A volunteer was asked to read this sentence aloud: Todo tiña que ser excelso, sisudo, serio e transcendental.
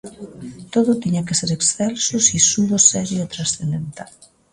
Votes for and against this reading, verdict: 2, 0, accepted